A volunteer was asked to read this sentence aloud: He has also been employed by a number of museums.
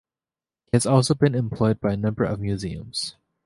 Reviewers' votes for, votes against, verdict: 0, 2, rejected